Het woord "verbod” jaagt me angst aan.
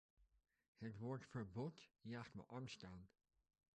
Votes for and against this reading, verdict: 1, 2, rejected